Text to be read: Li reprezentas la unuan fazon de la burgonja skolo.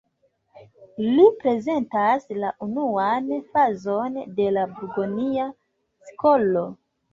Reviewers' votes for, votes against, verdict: 0, 2, rejected